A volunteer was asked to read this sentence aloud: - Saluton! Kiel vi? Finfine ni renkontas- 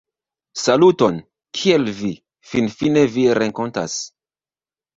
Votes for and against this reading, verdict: 0, 2, rejected